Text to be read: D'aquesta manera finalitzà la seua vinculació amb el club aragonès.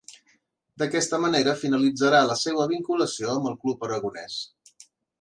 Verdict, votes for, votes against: rejected, 1, 2